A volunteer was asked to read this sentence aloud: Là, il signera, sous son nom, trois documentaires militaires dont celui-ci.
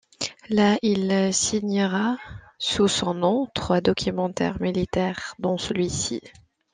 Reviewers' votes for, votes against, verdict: 2, 0, accepted